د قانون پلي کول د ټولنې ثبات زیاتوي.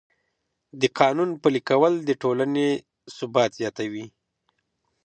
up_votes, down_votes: 2, 0